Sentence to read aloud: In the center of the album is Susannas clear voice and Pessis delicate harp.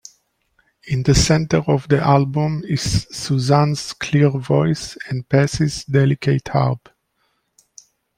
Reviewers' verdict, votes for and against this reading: rejected, 0, 2